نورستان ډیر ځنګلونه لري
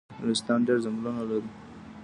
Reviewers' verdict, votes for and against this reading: rejected, 1, 2